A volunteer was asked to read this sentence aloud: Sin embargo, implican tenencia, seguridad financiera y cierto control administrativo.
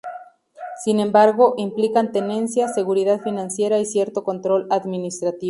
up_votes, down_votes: 0, 2